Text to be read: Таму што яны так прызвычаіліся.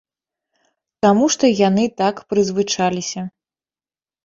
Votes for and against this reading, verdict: 0, 3, rejected